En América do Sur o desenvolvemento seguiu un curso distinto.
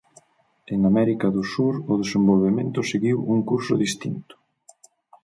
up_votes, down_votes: 4, 0